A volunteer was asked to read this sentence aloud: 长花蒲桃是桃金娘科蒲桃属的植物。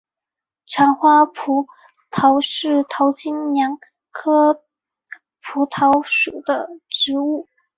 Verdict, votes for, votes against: rejected, 1, 2